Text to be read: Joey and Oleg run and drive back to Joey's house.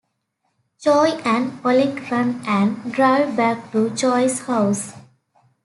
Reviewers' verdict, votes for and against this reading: rejected, 0, 2